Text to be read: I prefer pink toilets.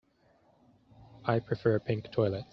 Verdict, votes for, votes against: accepted, 2, 0